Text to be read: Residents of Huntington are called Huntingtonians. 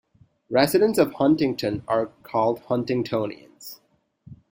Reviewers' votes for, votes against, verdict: 2, 0, accepted